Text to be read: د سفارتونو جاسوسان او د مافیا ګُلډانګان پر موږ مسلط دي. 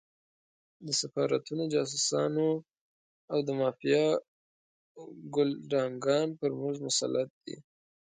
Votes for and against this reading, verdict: 0, 2, rejected